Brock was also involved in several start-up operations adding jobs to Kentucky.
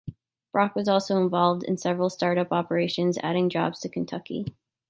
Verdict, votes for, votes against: accepted, 2, 0